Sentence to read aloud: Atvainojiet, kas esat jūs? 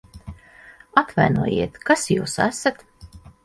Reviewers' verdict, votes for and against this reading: rejected, 2, 6